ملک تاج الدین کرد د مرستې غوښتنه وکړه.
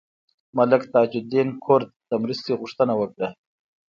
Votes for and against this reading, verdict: 2, 1, accepted